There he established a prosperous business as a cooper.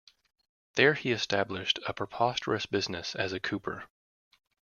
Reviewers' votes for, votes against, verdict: 0, 2, rejected